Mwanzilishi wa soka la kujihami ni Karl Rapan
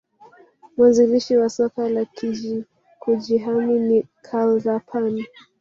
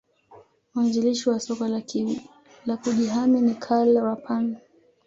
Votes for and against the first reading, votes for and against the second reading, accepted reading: 1, 4, 2, 1, second